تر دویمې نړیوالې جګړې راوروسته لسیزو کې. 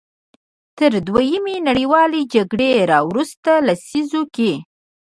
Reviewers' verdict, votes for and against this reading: accepted, 2, 1